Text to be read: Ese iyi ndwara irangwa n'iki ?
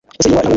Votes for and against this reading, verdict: 0, 2, rejected